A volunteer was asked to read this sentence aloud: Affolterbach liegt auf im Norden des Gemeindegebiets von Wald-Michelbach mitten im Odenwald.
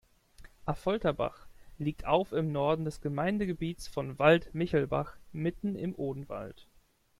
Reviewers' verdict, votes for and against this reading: accepted, 2, 0